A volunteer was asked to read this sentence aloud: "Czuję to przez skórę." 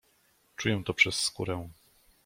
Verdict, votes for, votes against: accepted, 2, 0